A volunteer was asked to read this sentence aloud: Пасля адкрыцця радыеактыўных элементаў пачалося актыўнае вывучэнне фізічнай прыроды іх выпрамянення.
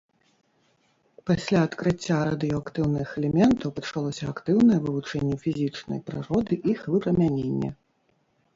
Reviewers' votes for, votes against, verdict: 1, 2, rejected